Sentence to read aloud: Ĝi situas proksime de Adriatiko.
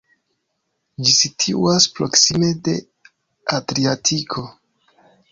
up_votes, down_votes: 2, 0